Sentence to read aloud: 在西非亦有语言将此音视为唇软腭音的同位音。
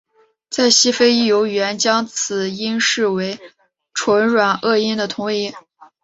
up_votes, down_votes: 3, 0